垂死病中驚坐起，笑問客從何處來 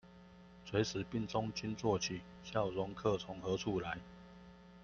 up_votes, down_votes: 0, 2